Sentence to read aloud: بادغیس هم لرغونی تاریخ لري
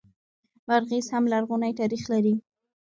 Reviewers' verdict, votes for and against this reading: accepted, 2, 1